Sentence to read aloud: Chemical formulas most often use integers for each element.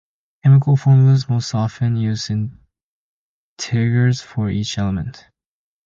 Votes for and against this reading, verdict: 2, 0, accepted